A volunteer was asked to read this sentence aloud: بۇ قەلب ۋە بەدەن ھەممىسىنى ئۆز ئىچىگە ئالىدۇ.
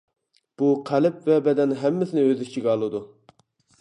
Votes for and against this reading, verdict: 2, 0, accepted